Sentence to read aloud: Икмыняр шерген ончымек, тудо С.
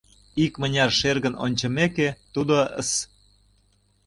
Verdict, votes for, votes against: rejected, 0, 2